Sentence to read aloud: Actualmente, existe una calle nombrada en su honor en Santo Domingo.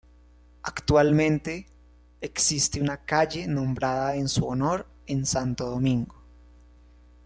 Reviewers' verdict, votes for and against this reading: accepted, 2, 0